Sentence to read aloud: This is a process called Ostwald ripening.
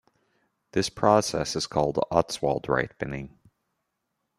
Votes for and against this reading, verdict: 2, 1, accepted